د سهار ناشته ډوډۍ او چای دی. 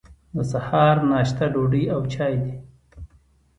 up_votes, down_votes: 2, 0